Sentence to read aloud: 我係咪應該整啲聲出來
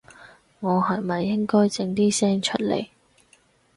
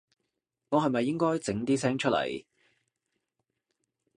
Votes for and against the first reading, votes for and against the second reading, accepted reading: 2, 2, 2, 0, second